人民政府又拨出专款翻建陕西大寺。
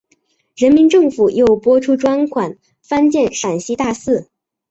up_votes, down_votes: 2, 0